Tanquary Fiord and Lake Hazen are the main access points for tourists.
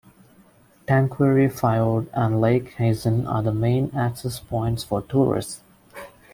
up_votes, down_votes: 1, 2